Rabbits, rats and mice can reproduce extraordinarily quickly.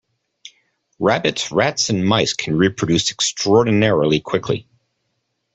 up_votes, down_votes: 2, 0